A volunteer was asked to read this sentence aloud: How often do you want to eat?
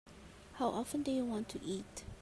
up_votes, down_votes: 3, 2